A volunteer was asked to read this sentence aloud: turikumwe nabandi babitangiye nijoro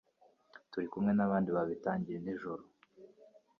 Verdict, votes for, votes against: rejected, 1, 2